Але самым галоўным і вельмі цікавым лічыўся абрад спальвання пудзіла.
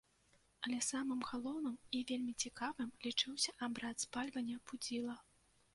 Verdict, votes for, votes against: rejected, 1, 2